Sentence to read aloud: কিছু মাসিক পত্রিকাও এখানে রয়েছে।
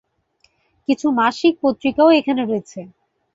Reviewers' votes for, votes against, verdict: 2, 0, accepted